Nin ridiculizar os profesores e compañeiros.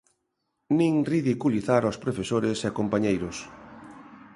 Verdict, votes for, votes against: accepted, 2, 0